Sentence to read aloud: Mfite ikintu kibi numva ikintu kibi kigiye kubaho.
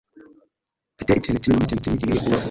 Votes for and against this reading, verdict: 1, 2, rejected